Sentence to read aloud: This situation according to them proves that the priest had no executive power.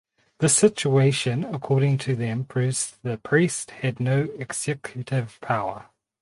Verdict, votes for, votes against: accepted, 4, 2